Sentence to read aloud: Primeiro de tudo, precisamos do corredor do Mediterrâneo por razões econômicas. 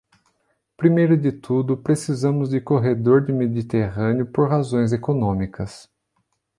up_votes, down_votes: 1, 2